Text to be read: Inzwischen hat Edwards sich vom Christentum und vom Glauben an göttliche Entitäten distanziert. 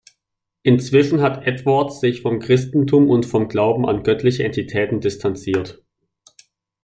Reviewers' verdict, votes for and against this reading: accepted, 2, 0